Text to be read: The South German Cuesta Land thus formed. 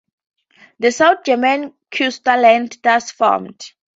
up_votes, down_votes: 4, 0